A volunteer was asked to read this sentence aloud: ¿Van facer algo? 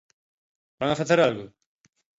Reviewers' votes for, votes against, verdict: 1, 2, rejected